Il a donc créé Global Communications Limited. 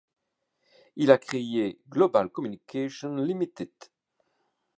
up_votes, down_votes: 0, 2